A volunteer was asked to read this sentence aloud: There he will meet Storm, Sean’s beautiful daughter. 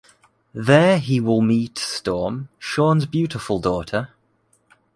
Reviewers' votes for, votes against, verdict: 2, 0, accepted